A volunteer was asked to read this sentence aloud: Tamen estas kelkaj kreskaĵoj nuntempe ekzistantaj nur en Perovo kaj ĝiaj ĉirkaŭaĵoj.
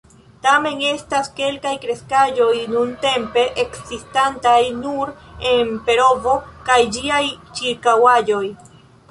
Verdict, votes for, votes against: rejected, 1, 2